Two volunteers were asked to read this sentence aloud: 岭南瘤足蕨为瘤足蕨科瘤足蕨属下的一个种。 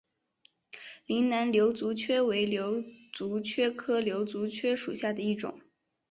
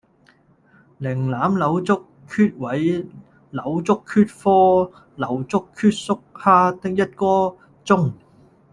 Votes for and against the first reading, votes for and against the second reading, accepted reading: 2, 0, 0, 2, first